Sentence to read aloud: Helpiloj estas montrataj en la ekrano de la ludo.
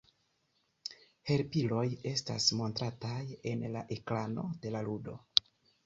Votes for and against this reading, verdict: 2, 0, accepted